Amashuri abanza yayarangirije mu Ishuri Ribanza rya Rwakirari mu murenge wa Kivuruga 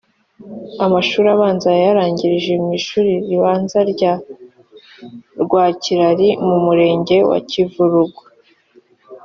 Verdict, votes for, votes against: accepted, 3, 0